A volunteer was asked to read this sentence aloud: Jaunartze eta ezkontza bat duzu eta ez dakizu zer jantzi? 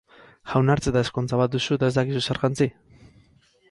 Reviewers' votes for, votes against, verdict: 2, 4, rejected